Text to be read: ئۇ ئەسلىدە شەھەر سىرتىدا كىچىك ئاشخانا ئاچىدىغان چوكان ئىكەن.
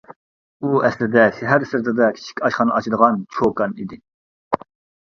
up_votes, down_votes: 0, 2